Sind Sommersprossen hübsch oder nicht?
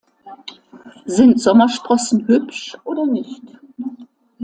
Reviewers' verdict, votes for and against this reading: accepted, 2, 1